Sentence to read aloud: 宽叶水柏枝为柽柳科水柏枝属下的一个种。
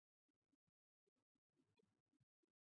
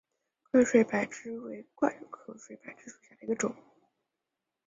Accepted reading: first